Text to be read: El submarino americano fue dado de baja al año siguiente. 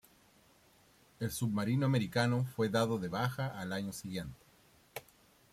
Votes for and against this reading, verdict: 2, 0, accepted